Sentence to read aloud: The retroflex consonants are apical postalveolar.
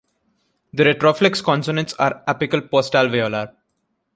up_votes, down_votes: 1, 2